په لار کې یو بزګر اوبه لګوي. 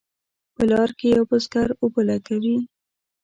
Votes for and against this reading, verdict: 2, 0, accepted